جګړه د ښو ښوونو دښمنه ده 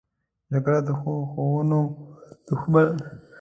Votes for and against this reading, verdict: 0, 2, rejected